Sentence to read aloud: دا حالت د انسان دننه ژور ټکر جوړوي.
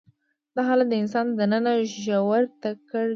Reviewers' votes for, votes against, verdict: 1, 2, rejected